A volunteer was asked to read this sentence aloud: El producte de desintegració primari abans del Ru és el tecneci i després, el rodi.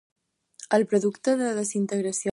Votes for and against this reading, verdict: 0, 4, rejected